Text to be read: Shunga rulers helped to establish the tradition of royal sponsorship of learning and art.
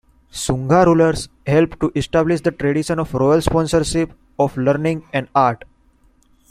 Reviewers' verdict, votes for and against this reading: accepted, 2, 0